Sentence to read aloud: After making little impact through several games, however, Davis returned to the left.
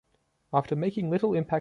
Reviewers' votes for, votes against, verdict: 0, 2, rejected